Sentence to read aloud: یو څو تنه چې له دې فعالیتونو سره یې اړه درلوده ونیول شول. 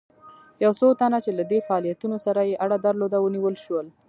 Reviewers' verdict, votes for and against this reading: rejected, 1, 2